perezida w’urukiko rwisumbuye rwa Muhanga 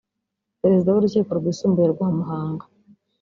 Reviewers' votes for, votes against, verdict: 3, 1, accepted